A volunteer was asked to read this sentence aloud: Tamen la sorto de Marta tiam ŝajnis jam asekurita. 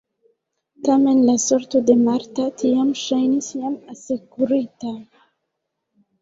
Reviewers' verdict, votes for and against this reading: rejected, 0, 2